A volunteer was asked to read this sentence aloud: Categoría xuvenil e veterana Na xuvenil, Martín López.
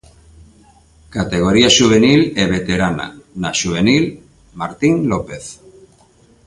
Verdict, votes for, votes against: accepted, 2, 0